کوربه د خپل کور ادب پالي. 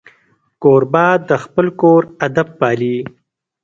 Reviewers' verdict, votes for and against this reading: rejected, 0, 2